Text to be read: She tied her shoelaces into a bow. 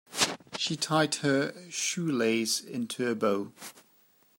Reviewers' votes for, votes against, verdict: 1, 2, rejected